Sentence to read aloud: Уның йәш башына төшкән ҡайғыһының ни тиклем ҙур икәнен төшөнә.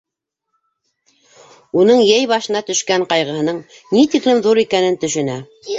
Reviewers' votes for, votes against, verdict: 0, 2, rejected